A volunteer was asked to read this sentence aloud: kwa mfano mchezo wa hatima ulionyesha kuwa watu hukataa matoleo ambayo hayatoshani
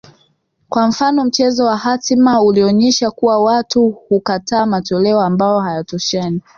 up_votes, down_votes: 6, 0